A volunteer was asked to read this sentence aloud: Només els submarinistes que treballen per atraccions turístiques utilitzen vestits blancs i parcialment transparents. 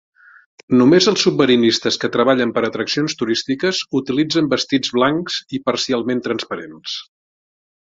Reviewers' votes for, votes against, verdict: 3, 0, accepted